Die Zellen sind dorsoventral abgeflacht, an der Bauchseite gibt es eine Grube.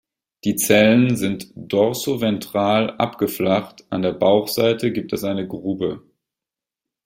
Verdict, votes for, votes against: accepted, 2, 0